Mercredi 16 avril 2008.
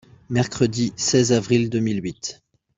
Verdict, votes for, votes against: rejected, 0, 2